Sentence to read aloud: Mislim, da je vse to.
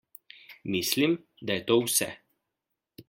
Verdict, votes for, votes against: rejected, 1, 2